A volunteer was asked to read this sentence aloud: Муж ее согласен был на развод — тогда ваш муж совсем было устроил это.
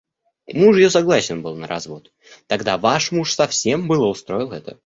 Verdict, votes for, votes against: accepted, 2, 0